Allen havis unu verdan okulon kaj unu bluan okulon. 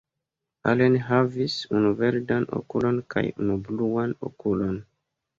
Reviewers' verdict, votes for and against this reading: accepted, 2, 0